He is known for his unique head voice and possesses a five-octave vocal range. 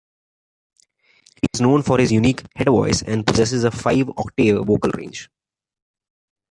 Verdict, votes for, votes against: accepted, 2, 0